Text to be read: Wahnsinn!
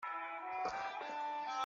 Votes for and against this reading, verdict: 0, 2, rejected